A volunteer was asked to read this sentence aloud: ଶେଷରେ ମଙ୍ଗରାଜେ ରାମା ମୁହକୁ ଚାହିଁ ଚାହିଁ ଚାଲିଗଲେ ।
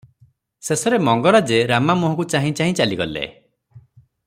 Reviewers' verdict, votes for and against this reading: accepted, 3, 0